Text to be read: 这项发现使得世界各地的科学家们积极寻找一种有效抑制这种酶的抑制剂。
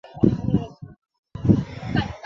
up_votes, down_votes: 1, 3